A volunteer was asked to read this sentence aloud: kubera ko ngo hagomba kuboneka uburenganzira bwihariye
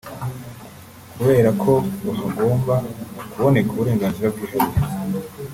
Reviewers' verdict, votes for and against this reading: rejected, 1, 2